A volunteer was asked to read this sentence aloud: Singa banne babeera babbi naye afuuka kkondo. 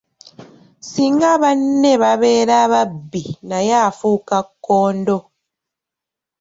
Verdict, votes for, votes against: rejected, 1, 2